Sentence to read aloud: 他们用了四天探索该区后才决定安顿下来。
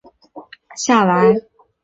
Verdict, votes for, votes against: rejected, 0, 2